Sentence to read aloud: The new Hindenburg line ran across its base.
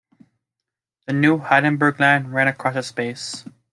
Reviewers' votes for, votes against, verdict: 0, 2, rejected